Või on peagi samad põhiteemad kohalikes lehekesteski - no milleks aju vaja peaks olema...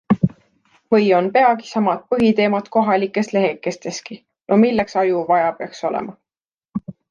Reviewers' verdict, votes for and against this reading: accepted, 2, 0